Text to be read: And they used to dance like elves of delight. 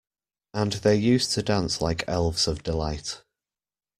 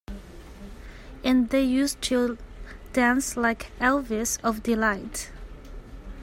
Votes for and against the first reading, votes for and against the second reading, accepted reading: 2, 0, 1, 2, first